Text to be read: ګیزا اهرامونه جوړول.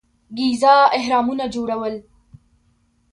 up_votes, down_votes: 2, 1